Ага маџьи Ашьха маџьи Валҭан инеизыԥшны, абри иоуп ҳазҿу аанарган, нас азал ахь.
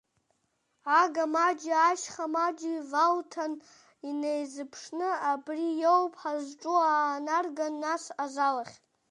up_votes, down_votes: 1, 2